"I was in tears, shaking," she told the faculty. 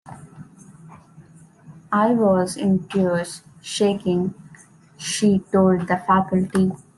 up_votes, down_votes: 2, 0